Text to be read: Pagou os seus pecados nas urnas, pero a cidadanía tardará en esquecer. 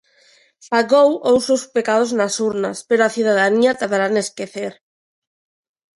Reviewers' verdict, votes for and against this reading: accepted, 2, 0